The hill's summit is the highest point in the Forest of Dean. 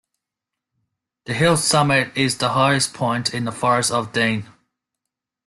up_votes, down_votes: 2, 0